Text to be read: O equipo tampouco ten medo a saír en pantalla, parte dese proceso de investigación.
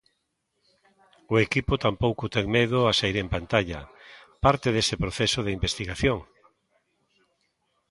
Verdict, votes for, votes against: accepted, 2, 0